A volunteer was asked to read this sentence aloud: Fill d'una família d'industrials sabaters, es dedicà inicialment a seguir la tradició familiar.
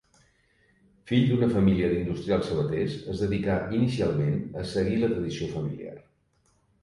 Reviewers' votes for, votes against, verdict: 2, 0, accepted